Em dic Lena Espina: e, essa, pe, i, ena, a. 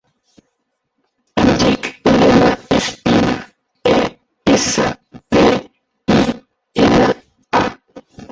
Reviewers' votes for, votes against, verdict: 1, 5, rejected